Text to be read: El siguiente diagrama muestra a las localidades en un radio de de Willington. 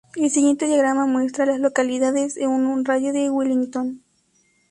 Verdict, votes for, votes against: rejected, 0, 4